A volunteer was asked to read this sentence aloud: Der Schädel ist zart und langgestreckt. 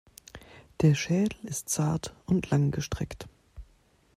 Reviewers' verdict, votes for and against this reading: accepted, 2, 0